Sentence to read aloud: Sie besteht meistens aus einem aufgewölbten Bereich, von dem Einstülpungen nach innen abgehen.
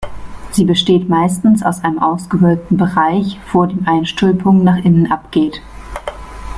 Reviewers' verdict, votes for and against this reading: rejected, 0, 2